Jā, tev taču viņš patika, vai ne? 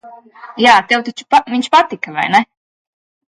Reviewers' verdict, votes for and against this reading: rejected, 0, 2